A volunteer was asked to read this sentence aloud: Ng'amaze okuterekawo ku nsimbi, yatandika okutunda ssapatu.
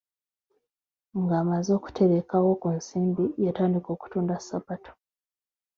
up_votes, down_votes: 2, 1